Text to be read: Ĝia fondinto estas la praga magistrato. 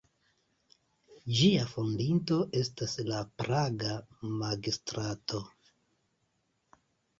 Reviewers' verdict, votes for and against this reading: accepted, 2, 0